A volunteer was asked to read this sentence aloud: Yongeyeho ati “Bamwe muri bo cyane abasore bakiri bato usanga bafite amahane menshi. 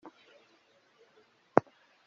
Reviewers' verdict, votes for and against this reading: rejected, 0, 2